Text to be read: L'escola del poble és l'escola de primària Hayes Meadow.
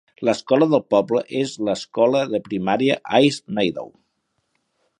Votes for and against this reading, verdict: 4, 0, accepted